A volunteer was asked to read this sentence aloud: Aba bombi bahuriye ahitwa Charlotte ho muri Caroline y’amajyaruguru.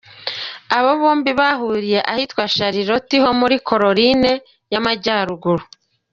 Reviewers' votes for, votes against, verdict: 2, 0, accepted